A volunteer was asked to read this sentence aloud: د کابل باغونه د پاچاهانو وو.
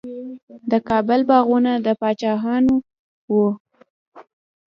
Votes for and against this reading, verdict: 2, 0, accepted